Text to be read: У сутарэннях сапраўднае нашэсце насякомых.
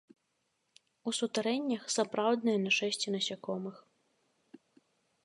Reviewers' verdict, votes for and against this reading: accepted, 3, 0